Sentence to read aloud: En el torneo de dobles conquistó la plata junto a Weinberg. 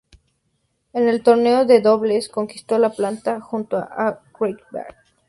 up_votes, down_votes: 0, 2